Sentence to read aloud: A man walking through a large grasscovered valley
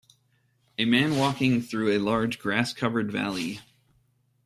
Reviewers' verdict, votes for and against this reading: accepted, 2, 0